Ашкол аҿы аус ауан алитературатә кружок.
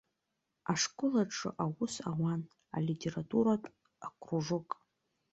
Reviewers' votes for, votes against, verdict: 0, 2, rejected